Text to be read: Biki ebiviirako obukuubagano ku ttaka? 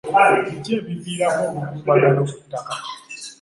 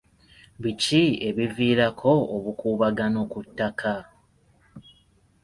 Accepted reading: second